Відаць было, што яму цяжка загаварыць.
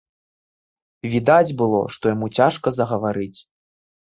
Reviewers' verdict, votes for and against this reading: accepted, 2, 0